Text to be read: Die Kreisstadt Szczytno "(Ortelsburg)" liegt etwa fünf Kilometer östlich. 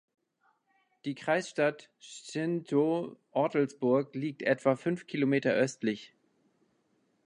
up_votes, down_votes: 2, 1